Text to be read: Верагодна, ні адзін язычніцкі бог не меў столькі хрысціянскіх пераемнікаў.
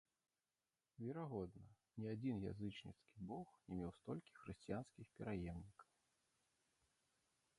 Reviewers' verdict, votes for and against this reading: rejected, 0, 2